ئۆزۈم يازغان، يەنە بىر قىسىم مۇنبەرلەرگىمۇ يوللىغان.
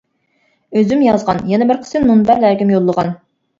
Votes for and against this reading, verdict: 2, 0, accepted